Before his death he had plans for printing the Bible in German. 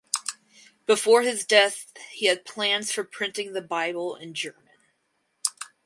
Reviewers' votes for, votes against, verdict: 2, 0, accepted